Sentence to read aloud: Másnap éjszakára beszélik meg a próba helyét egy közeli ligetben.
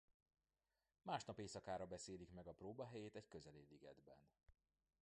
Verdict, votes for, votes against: accepted, 2, 1